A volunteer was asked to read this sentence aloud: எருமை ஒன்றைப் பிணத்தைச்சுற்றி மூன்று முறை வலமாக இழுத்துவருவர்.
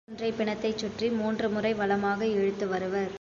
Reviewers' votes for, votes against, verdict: 0, 2, rejected